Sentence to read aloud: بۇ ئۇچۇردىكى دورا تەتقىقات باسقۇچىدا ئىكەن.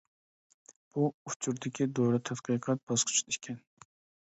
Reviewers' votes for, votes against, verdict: 0, 2, rejected